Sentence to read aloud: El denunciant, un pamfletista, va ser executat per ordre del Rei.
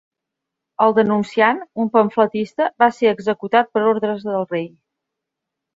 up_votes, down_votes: 0, 2